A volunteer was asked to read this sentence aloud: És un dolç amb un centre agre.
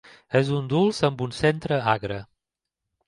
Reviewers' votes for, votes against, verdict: 1, 2, rejected